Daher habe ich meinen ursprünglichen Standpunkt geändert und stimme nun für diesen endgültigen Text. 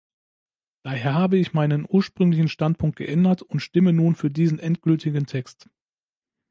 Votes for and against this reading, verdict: 2, 0, accepted